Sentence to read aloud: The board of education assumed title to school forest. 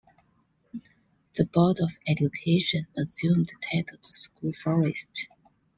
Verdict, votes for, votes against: accepted, 2, 0